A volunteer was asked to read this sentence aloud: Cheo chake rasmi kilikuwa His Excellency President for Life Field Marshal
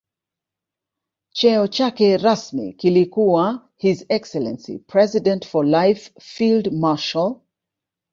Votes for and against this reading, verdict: 1, 3, rejected